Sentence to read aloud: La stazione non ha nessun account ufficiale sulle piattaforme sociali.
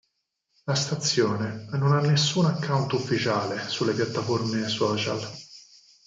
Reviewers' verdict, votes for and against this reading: rejected, 0, 4